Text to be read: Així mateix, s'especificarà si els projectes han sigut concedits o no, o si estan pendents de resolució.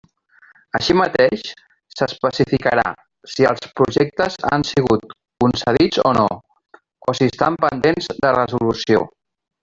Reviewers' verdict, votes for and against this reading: rejected, 0, 2